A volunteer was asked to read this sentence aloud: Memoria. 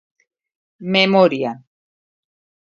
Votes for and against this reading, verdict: 2, 0, accepted